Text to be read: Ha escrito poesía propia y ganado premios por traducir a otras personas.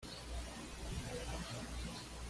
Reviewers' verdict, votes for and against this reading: rejected, 1, 2